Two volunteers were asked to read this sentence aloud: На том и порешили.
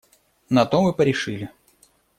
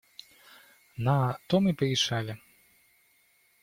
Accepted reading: first